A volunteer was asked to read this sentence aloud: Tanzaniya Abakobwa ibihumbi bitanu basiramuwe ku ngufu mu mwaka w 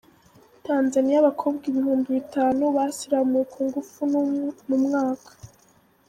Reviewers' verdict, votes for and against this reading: rejected, 1, 2